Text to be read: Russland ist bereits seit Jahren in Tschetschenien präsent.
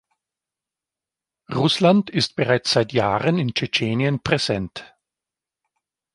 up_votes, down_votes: 2, 0